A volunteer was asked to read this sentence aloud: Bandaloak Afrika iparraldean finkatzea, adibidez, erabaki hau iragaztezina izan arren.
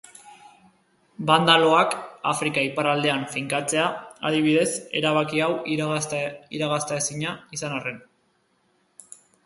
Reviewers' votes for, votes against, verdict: 1, 3, rejected